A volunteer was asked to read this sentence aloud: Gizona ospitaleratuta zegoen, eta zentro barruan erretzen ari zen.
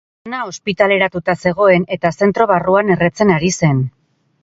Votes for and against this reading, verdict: 0, 4, rejected